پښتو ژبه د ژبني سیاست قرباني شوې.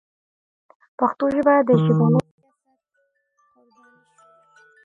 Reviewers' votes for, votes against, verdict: 1, 2, rejected